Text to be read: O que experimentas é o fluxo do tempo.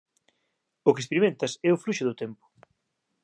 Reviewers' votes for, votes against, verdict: 2, 0, accepted